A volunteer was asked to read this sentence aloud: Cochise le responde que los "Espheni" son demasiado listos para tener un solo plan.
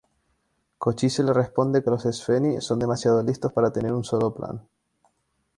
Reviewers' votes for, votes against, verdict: 2, 0, accepted